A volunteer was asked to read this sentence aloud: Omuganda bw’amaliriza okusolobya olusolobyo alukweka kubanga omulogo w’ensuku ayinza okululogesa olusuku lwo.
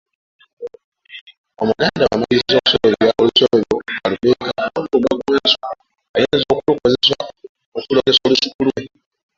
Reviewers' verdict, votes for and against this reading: rejected, 0, 2